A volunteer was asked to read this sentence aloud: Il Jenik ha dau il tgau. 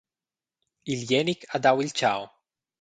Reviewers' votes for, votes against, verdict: 2, 0, accepted